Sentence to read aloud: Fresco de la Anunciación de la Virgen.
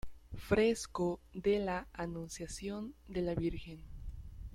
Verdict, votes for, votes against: rejected, 0, 2